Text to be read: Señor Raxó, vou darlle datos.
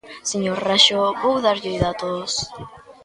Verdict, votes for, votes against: accepted, 2, 0